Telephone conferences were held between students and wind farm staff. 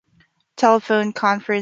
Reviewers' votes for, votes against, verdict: 0, 2, rejected